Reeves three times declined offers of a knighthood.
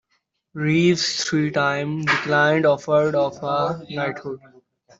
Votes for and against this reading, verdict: 1, 2, rejected